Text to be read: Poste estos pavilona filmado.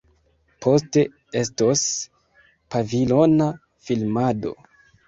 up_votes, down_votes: 2, 1